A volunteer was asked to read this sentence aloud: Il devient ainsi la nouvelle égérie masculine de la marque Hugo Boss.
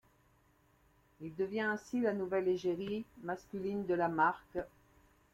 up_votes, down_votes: 0, 2